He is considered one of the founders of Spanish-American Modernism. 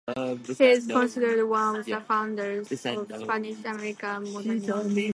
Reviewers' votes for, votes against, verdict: 2, 0, accepted